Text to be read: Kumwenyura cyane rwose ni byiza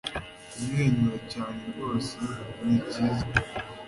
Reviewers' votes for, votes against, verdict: 2, 0, accepted